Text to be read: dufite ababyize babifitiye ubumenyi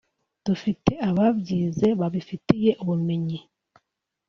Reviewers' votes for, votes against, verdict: 2, 0, accepted